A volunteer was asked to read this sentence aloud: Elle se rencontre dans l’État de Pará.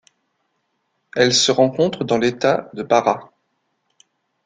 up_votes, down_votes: 2, 0